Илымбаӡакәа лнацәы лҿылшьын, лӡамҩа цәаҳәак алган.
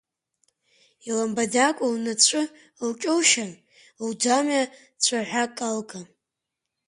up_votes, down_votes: 6, 4